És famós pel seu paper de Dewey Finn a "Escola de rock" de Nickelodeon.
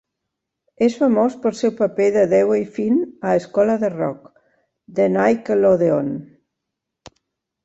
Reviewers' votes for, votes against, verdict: 2, 0, accepted